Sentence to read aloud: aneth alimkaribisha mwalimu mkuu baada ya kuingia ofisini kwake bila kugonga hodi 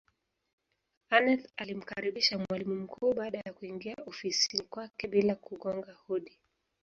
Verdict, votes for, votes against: accepted, 2, 0